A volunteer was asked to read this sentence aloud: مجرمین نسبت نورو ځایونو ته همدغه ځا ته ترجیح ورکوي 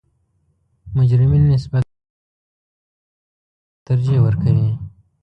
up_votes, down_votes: 1, 2